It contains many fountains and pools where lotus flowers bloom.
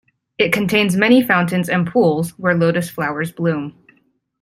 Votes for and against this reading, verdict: 2, 0, accepted